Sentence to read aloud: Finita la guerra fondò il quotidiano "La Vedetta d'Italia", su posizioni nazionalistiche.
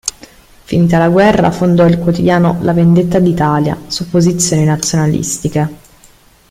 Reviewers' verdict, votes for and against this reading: rejected, 0, 2